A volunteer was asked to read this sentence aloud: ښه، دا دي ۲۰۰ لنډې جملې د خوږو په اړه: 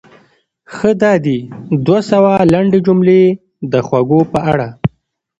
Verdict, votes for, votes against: rejected, 0, 2